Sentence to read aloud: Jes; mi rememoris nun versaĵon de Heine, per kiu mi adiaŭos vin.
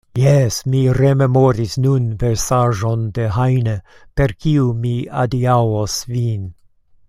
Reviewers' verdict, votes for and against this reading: accepted, 2, 0